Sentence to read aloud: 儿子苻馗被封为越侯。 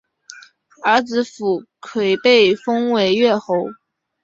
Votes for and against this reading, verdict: 2, 0, accepted